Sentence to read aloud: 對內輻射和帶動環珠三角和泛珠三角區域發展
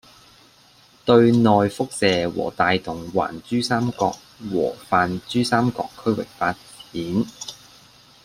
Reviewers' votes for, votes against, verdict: 2, 0, accepted